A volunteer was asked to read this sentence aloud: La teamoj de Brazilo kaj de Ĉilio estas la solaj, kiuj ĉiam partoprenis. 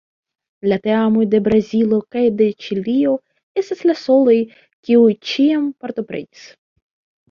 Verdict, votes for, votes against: rejected, 1, 2